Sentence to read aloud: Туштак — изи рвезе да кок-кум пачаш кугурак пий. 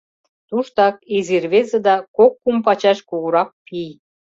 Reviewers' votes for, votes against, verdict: 2, 0, accepted